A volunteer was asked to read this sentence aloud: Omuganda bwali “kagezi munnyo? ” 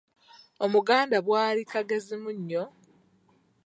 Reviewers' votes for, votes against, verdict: 2, 1, accepted